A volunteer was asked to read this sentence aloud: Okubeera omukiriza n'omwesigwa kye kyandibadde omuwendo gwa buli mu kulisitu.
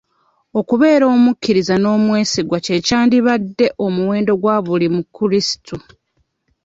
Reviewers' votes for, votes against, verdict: 1, 2, rejected